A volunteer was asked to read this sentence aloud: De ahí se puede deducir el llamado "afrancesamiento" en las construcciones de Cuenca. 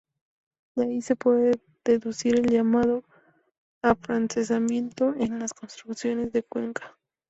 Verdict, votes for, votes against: accepted, 2, 0